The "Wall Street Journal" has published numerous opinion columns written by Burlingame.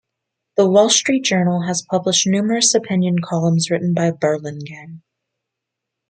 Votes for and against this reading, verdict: 1, 2, rejected